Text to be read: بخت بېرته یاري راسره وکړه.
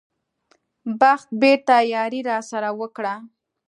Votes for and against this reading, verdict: 2, 0, accepted